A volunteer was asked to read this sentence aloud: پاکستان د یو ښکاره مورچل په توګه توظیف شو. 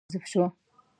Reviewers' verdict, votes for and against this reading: rejected, 0, 2